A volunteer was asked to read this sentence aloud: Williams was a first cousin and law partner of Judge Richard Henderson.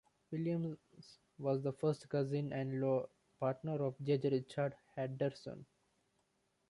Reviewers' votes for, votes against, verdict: 1, 2, rejected